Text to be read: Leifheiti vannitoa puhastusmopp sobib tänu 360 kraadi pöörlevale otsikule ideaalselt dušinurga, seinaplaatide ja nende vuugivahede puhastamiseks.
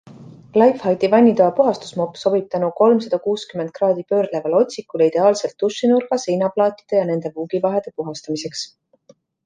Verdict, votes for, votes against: rejected, 0, 2